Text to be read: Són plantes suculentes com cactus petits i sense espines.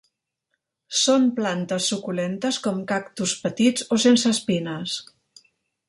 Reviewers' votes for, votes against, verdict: 0, 2, rejected